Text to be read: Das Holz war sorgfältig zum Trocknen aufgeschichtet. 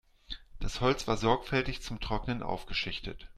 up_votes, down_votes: 2, 0